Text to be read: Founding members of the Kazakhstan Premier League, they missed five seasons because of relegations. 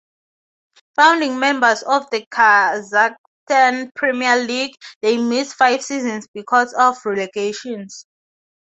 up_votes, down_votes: 0, 2